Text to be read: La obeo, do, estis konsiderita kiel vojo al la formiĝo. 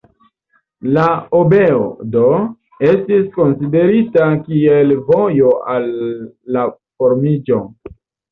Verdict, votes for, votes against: accepted, 2, 1